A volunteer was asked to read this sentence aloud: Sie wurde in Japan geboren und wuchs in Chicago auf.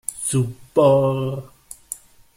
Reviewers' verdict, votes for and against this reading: rejected, 0, 2